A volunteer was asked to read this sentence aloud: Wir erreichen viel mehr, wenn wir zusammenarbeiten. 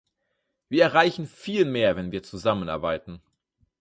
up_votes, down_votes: 4, 0